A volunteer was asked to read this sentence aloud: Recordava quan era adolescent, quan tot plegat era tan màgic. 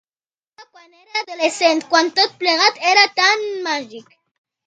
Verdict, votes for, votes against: rejected, 0, 2